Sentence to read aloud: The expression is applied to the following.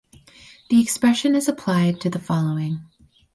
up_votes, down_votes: 4, 0